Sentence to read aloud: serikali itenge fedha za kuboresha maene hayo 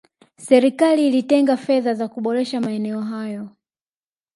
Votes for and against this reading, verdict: 2, 1, accepted